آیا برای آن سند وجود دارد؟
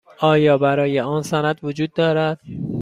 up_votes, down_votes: 2, 0